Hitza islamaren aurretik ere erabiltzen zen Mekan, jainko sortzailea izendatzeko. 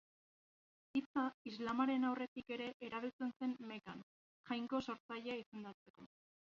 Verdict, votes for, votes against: accepted, 2, 0